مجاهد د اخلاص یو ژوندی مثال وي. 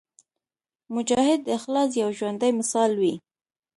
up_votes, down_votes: 2, 0